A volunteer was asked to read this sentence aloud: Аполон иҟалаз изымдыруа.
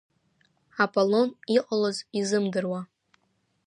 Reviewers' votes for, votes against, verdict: 2, 0, accepted